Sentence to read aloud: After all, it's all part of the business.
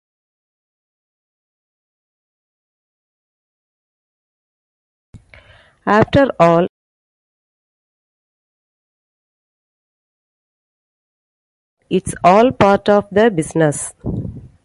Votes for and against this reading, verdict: 2, 0, accepted